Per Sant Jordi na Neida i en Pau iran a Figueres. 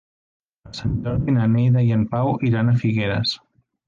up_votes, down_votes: 0, 3